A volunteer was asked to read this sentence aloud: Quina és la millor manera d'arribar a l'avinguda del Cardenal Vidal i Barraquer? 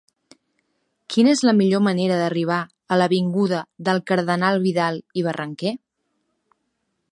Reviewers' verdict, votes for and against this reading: rejected, 0, 2